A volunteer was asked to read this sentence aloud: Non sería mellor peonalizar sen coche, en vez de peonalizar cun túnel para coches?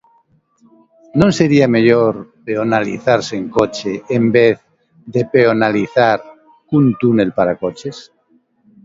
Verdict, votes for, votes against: accepted, 2, 1